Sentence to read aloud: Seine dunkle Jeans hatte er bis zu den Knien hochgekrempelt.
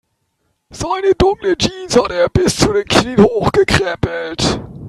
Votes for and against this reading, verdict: 1, 2, rejected